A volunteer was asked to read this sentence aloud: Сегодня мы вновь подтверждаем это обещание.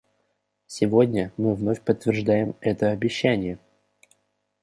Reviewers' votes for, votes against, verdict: 2, 0, accepted